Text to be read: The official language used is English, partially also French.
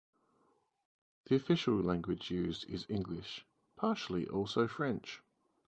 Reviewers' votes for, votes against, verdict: 4, 0, accepted